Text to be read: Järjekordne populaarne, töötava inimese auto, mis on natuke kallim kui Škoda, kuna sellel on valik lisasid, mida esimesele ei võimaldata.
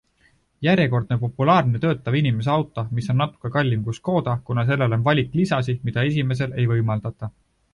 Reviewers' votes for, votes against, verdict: 1, 2, rejected